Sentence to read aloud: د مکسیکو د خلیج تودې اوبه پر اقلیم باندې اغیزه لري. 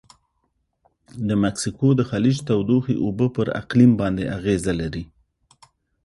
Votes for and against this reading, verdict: 1, 2, rejected